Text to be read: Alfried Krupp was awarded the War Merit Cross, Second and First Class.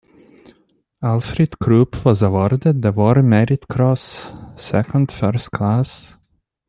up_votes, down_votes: 0, 2